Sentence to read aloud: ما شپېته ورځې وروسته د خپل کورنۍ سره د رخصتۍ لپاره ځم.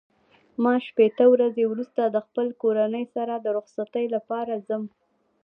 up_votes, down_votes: 2, 0